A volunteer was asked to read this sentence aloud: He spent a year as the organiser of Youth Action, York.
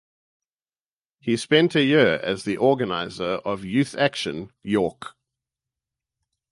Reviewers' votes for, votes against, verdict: 4, 0, accepted